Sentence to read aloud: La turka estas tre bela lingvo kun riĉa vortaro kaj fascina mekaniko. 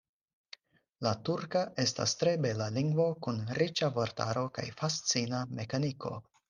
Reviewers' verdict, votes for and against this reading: accepted, 4, 0